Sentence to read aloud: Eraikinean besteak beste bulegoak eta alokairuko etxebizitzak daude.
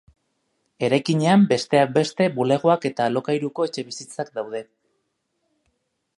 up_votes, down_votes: 2, 0